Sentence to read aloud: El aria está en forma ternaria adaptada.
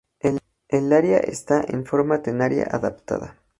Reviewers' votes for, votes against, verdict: 0, 2, rejected